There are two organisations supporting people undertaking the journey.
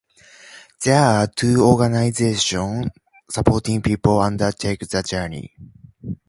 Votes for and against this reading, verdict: 2, 0, accepted